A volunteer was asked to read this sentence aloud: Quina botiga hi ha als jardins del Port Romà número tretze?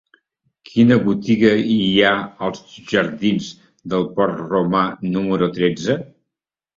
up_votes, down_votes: 3, 0